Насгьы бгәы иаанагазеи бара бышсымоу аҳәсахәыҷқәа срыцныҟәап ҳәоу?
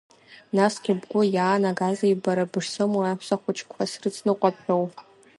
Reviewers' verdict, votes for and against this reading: accepted, 2, 1